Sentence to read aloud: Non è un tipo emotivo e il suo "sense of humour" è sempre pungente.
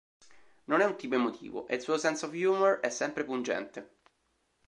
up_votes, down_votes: 2, 0